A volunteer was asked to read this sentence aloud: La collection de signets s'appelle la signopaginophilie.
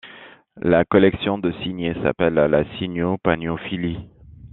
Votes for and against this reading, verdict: 1, 2, rejected